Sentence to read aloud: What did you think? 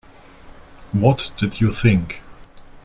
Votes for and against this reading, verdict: 2, 0, accepted